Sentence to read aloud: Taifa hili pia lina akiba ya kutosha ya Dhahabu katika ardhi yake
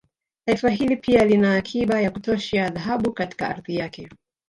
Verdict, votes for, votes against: accepted, 2, 0